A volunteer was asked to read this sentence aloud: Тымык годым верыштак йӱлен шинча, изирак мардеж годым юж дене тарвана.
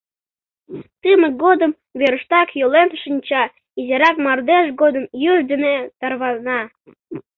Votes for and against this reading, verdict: 2, 0, accepted